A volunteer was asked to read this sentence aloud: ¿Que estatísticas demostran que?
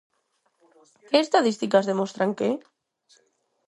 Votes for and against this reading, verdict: 2, 4, rejected